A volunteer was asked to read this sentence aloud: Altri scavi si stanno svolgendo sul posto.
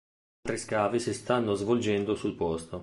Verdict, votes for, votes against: rejected, 1, 2